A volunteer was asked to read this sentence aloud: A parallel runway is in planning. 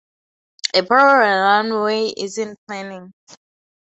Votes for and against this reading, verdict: 4, 8, rejected